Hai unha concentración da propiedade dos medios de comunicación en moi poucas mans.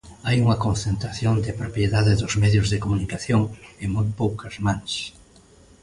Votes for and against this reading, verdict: 0, 2, rejected